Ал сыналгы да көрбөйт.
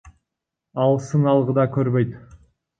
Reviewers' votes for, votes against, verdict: 1, 2, rejected